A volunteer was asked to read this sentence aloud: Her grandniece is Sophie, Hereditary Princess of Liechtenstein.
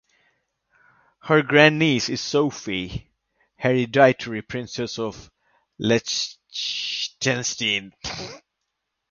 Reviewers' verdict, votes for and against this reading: rejected, 0, 2